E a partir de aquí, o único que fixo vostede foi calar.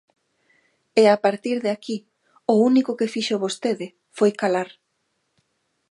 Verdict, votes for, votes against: accepted, 2, 0